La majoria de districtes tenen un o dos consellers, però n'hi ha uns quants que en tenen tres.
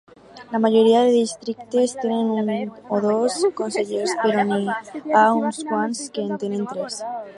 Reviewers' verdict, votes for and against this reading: rejected, 2, 4